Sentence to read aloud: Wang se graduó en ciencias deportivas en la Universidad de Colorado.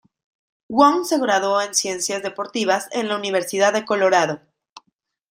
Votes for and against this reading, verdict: 2, 0, accepted